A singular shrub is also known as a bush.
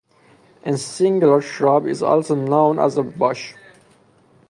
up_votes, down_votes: 0, 2